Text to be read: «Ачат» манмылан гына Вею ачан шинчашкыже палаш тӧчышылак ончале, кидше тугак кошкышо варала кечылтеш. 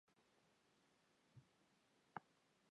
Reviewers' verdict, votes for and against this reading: rejected, 0, 3